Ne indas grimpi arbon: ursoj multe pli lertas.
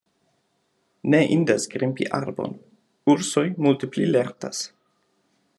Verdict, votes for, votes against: accepted, 2, 0